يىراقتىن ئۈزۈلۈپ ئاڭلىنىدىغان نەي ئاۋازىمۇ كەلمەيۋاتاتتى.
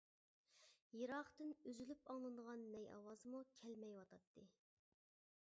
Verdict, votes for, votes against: accepted, 2, 0